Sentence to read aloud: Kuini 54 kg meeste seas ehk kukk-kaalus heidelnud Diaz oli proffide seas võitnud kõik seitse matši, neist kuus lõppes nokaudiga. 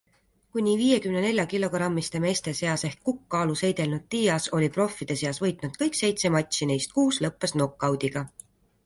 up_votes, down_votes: 0, 2